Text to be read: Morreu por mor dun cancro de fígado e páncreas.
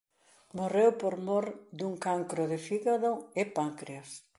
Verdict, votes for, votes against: accepted, 2, 0